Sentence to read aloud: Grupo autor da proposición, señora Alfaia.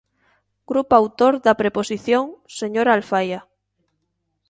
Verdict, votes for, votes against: rejected, 1, 2